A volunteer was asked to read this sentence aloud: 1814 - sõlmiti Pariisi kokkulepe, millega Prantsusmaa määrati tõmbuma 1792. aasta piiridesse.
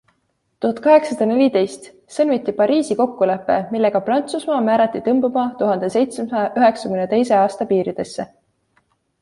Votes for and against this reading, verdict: 0, 2, rejected